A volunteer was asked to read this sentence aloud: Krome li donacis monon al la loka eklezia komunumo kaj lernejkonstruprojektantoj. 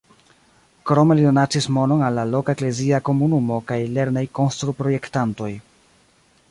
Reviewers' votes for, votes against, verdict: 2, 1, accepted